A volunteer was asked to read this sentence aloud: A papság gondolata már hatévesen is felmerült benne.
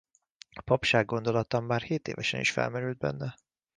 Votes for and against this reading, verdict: 1, 2, rejected